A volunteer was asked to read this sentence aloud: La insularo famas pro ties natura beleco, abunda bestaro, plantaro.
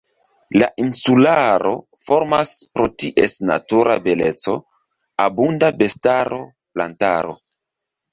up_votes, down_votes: 1, 2